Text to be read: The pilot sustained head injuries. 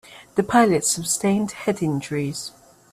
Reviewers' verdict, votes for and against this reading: rejected, 1, 2